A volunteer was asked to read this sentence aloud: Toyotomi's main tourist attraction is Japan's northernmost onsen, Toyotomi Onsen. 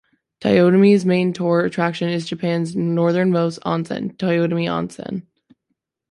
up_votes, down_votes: 2, 0